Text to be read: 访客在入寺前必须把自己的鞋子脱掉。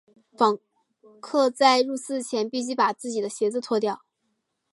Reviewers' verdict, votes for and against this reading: accepted, 3, 0